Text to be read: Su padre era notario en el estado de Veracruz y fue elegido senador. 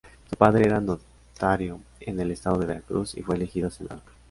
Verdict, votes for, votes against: accepted, 2, 0